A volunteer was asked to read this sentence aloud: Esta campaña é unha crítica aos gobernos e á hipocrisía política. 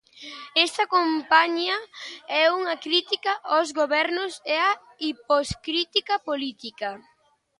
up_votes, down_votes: 0, 2